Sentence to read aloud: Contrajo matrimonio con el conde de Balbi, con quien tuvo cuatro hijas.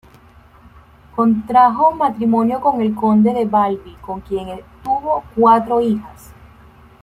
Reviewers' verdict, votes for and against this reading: rejected, 1, 2